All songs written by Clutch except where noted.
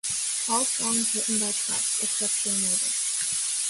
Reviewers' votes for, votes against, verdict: 3, 1, accepted